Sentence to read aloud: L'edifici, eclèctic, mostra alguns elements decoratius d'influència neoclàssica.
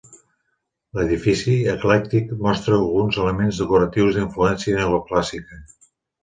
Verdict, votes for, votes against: accepted, 2, 0